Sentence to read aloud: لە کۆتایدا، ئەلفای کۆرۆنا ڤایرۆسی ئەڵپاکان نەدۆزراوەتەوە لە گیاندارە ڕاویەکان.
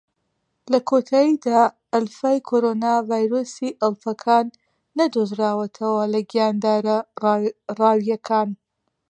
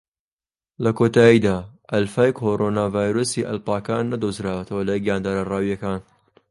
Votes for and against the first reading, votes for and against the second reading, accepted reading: 0, 2, 2, 1, second